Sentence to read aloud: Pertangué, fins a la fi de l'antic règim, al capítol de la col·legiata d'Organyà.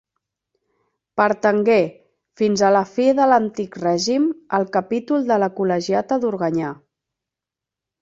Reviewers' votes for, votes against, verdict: 4, 0, accepted